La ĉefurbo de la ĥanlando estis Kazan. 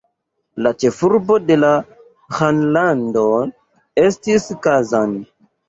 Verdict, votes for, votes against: rejected, 2, 3